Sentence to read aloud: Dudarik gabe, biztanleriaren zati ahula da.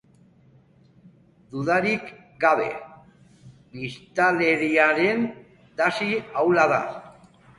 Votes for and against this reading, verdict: 2, 0, accepted